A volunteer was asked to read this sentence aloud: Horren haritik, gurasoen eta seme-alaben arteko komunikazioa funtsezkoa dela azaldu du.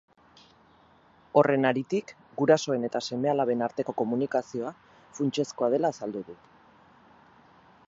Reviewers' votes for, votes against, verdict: 4, 2, accepted